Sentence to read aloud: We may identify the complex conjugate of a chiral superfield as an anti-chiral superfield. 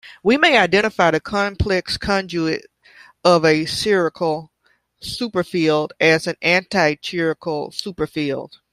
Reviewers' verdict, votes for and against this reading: rejected, 0, 2